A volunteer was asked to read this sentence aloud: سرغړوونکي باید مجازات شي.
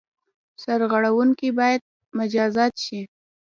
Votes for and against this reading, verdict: 2, 0, accepted